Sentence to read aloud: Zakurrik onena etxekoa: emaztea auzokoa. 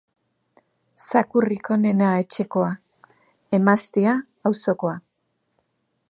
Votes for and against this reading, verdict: 3, 0, accepted